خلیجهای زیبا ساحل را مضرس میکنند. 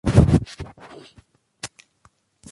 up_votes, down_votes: 0, 2